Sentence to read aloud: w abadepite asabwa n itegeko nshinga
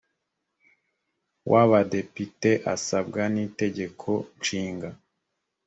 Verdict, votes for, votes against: accepted, 2, 0